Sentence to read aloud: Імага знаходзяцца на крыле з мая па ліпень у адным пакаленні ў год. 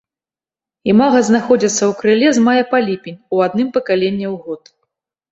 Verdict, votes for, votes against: rejected, 0, 2